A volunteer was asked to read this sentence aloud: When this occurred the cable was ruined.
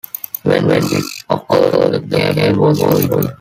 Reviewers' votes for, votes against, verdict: 0, 3, rejected